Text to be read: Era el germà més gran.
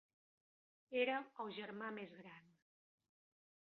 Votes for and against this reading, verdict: 3, 1, accepted